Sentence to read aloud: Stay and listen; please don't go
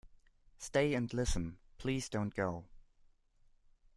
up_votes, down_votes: 2, 0